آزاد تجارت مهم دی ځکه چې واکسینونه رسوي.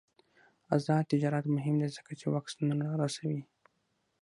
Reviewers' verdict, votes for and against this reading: accepted, 6, 0